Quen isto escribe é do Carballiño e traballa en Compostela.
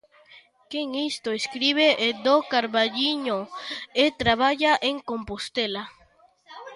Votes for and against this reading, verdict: 2, 0, accepted